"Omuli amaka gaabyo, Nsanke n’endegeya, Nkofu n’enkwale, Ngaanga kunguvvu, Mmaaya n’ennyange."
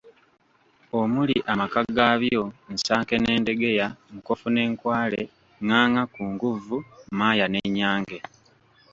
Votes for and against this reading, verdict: 2, 0, accepted